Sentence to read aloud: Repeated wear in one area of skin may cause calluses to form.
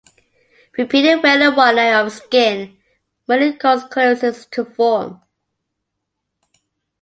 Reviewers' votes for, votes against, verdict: 0, 2, rejected